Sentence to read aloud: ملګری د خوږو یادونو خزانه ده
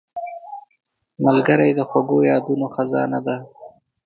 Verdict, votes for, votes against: rejected, 0, 2